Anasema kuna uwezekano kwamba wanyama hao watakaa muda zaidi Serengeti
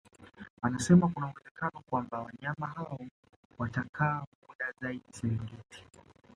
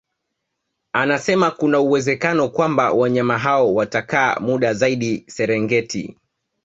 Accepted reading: second